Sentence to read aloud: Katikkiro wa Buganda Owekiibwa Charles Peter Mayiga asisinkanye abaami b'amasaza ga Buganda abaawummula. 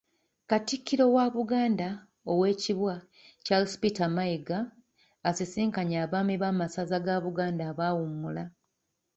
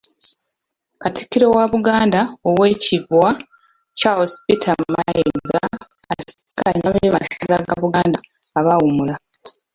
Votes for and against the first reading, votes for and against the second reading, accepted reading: 2, 1, 0, 2, first